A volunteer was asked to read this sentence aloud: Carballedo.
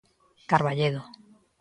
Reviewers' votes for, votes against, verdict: 3, 0, accepted